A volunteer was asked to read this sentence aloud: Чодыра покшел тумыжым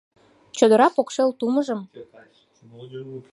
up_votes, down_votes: 1, 2